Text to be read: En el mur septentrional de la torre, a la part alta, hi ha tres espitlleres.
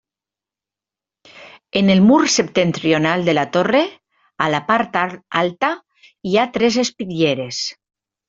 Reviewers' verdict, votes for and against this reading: rejected, 0, 2